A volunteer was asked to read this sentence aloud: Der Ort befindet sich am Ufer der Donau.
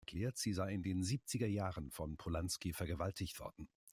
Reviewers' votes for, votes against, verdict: 0, 2, rejected